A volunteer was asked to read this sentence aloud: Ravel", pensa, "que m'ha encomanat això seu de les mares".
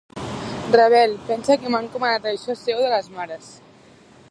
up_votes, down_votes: 1, 2